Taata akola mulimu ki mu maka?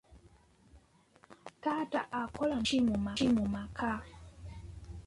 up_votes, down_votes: 1, 2